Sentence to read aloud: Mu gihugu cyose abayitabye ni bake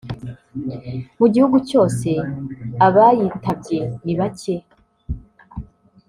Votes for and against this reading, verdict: 2, 1, accepted